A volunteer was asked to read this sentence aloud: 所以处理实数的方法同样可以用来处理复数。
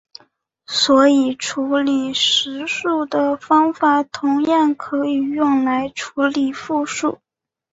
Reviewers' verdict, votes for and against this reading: accepted, 4, 0